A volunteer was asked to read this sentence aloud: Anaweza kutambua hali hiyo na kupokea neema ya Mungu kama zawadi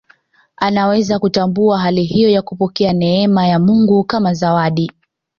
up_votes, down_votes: 1, 2